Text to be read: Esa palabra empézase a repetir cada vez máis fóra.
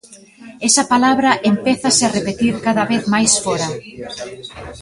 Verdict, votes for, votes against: accepted, 2, 1